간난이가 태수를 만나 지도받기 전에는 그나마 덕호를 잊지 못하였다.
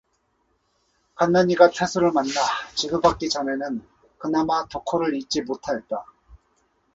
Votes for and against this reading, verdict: 2, 0, accepted